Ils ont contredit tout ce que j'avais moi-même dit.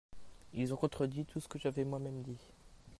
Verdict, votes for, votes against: rejected, 0, 2